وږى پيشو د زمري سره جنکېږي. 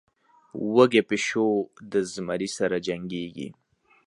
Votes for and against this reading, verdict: 4, 0, accepted